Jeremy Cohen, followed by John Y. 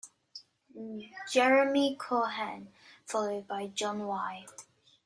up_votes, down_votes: 1, 2